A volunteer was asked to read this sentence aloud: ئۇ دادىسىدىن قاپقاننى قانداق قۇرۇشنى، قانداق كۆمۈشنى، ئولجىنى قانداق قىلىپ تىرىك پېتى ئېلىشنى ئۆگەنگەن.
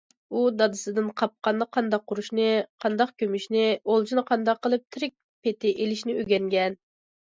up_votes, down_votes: 2, 0